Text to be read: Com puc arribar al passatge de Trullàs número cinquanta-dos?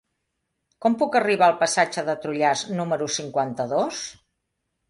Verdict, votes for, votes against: accepted, 2, 0